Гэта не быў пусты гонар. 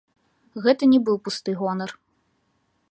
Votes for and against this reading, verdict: 2, 0, accepted